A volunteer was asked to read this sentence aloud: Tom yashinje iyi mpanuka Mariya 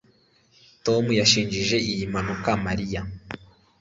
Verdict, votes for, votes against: accepted, 2, 0